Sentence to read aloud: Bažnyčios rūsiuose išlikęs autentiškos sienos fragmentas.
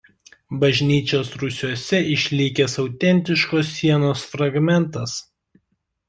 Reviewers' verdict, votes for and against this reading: accepted, 2, 1